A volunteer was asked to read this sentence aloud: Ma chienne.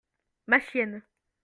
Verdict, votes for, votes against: accepted, 2, 0